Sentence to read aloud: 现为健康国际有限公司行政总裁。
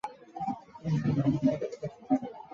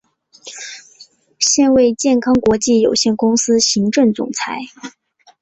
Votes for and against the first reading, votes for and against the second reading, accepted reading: 0, 2, 4, 0, second